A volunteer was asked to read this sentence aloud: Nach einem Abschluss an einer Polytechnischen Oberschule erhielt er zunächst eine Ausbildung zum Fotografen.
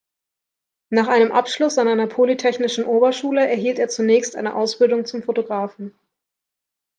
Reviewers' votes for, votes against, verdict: 2, 0, accepted